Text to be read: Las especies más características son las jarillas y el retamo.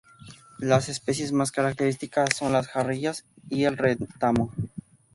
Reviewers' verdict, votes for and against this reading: accepted, 2, 0